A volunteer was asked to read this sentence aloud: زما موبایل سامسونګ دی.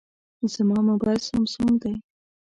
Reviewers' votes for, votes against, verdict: 2, 0, accepted